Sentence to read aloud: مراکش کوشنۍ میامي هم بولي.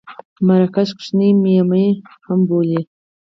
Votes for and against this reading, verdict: 0, 4, rejected